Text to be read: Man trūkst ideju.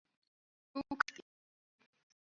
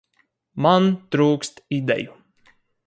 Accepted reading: second